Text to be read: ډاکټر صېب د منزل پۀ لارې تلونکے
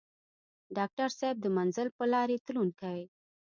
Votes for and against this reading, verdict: 0, 2, rejected